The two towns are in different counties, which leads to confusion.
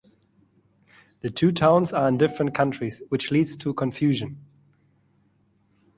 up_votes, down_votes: 1, 2